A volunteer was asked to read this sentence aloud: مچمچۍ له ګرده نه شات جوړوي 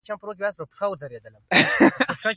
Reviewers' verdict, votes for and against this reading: accepted, 2, 1